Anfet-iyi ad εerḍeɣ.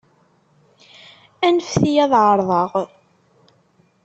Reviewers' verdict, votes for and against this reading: accepted, 2, 0